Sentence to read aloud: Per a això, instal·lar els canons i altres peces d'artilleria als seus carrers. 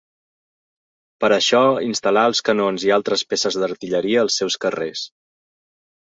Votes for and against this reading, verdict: 2, 0, accepted